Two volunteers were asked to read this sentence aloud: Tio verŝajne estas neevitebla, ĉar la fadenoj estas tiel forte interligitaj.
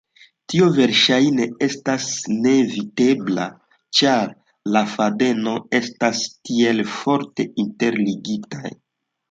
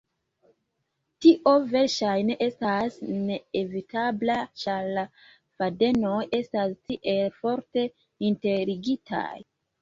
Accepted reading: first